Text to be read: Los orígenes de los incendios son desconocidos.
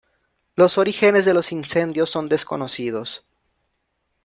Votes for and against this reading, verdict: 2, 0, accepted